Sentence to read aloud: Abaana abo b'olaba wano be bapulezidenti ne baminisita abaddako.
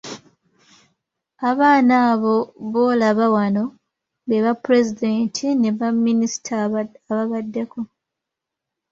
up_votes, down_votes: 1, 2